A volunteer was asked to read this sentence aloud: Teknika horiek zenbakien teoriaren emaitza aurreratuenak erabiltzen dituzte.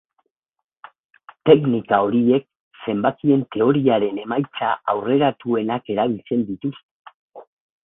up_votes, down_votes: 0, 2